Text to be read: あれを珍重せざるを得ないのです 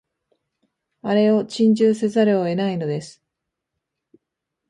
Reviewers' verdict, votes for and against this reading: accepted, 9, 1